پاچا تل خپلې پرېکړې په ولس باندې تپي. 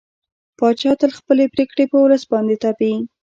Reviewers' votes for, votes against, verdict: 2, 1, accepted